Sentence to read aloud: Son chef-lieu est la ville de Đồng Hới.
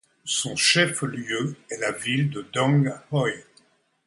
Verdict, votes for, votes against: accepted, 2, 0